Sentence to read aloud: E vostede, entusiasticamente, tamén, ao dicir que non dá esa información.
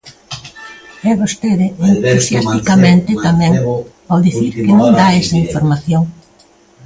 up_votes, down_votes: 0, 2